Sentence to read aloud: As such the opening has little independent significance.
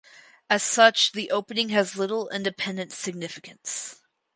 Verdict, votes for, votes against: accepted, 4, 0